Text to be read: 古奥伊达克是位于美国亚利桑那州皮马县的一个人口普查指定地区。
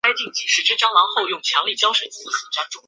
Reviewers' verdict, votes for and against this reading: rejected, 0, 2